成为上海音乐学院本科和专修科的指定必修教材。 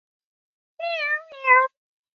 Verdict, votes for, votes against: rejected, 0, 3